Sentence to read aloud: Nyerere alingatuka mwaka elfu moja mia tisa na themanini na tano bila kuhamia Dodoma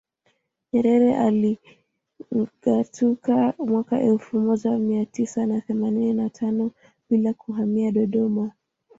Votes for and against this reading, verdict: 0, 2, rejected